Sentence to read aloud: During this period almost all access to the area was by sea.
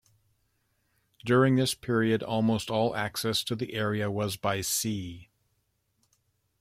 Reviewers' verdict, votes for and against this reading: accepted, 2, 0